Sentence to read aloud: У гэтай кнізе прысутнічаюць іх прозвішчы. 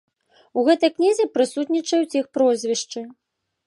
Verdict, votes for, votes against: accepted, 2, 0